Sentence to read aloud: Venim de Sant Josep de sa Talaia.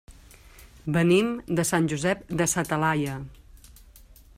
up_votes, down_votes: 3, 0